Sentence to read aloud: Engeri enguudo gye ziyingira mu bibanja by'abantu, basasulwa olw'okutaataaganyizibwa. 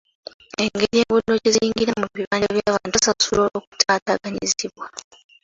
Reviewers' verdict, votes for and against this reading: rejected, 0, 2